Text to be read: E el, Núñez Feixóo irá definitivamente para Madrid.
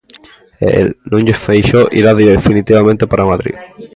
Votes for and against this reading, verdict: 1, 2, rejected